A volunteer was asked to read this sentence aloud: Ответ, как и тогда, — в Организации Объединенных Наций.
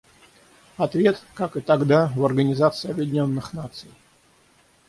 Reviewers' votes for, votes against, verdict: 6, 0, accepted